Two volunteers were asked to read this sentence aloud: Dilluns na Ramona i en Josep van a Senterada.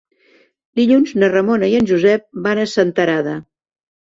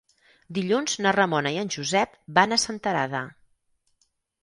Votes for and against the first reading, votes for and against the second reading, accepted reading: 3, 0, 2, 4, first